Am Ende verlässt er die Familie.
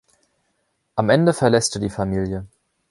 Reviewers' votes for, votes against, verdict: 2, 0, accepted